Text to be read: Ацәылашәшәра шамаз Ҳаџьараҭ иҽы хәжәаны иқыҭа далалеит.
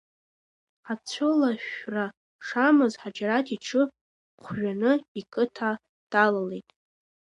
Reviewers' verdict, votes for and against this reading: accepted, 2, 0